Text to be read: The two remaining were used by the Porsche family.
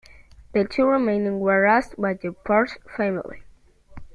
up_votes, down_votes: 1, 2